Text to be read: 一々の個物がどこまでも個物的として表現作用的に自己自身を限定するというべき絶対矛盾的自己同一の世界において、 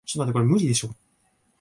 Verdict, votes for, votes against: rejected, 0, 2